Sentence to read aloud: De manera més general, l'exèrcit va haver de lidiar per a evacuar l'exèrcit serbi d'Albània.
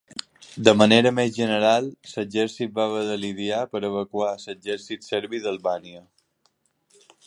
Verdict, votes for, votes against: rejected, 0, 2